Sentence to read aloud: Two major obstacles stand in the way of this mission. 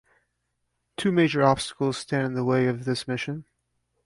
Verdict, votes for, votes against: accepted, 2, 0